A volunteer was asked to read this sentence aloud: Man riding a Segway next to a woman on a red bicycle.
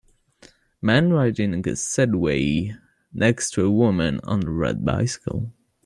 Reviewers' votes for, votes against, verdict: 2, 0, accepted